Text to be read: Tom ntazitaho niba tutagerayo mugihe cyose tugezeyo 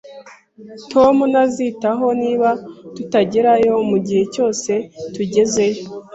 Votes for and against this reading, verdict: 2, 0, accepted